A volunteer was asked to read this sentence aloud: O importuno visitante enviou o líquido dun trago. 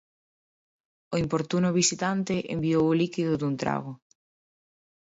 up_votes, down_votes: 2, 0